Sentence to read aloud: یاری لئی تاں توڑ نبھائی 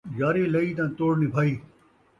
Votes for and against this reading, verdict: 2, 0, accepted